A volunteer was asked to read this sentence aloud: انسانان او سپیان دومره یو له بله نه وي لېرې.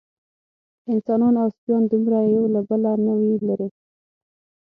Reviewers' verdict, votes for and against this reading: rejected, 0, 6